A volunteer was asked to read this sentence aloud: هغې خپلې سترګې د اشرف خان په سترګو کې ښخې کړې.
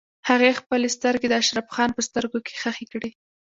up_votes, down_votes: 2, 1